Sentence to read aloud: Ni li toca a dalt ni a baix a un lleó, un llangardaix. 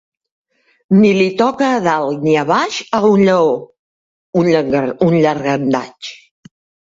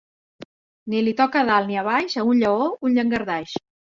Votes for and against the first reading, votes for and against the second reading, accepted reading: 0, 2, 2, 0, second